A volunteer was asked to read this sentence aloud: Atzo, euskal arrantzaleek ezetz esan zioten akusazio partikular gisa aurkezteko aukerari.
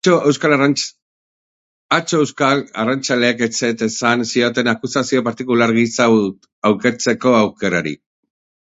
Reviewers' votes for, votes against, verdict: 0, 2, rejected